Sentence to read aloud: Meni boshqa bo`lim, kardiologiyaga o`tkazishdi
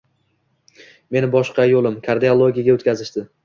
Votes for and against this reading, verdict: 2, 0, accepted